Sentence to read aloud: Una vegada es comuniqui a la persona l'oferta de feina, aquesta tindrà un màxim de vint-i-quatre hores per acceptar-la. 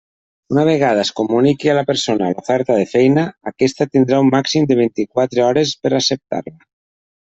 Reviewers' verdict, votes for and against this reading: accepted, 2, 0